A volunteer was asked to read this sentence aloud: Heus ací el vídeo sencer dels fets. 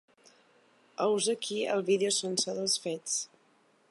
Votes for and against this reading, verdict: 0, 2, rejected